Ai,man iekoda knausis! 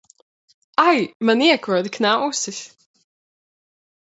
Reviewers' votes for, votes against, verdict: 2, 0, accepted